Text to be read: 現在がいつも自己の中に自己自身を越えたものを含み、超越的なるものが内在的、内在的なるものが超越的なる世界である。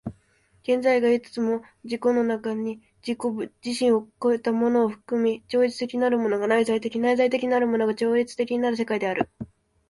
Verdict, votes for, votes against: accepted, 2, 0